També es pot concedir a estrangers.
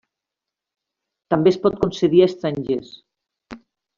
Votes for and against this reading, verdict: 3, 0, accepted